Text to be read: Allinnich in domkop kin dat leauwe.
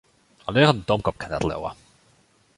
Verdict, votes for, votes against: rejected, 1, 2